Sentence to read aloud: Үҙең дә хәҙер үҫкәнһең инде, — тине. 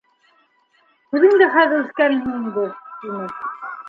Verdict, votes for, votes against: rejected, 1, 2